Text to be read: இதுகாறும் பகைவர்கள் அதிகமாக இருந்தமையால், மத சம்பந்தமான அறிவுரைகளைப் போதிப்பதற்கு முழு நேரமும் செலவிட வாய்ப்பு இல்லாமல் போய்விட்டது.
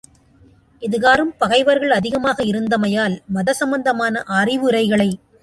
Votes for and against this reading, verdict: 0, 2, rejected